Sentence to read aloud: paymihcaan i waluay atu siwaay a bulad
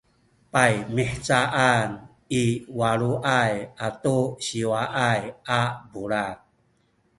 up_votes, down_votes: 3, 1